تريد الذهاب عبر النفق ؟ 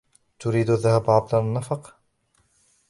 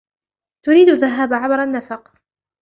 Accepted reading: second